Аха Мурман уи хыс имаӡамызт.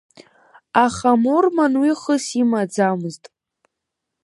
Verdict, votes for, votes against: accepted, 2, 0